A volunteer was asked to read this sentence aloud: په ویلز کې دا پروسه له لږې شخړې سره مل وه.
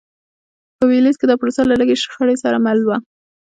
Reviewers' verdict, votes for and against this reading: accepted, 2, 0